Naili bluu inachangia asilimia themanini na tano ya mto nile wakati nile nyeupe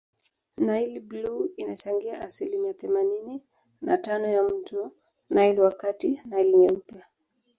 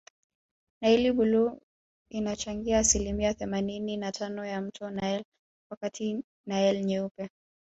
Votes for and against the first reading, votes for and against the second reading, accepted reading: 0, 2, 2, 1, second